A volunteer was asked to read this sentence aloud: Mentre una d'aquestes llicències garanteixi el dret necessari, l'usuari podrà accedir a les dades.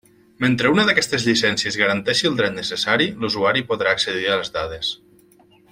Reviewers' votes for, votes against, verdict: 3, 1, accepted